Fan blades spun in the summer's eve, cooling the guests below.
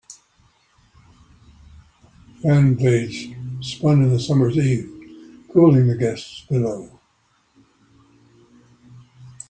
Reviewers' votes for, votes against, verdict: 0, 2, rejected